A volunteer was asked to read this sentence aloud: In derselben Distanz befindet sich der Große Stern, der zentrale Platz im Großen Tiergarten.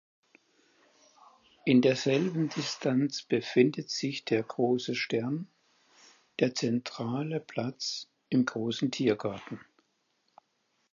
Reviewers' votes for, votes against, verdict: 4, 0, accepted